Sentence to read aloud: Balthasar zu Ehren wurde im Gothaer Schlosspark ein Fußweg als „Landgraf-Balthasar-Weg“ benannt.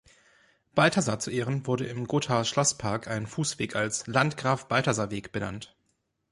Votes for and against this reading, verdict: 2, 0, accepted